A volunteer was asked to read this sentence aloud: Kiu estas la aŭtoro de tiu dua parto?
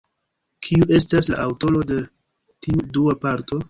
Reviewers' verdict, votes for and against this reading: accepted, 2, 0